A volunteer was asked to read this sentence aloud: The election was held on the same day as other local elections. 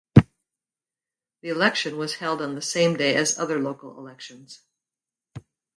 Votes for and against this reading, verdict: 2, 0, accepted